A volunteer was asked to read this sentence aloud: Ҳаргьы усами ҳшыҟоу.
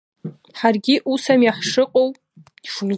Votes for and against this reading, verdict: 1, 2, rejected